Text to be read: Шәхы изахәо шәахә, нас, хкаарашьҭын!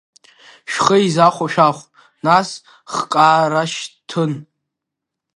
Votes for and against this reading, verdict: 1, 2, rejected